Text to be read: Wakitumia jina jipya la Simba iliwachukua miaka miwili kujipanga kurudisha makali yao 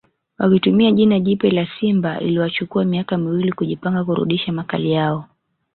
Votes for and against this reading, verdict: 1, 2, rejected